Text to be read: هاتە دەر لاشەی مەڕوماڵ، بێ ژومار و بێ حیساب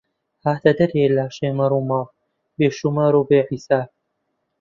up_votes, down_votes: 1, 2